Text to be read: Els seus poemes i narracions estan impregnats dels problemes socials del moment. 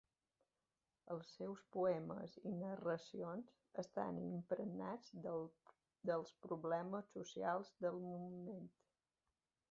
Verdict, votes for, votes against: rejected, 0, 2